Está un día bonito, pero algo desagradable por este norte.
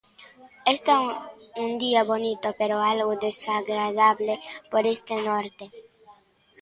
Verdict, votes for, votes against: accepted, 2, 0